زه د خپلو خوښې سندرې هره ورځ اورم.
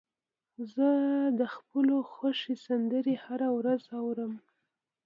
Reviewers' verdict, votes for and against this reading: accepted, 2, 0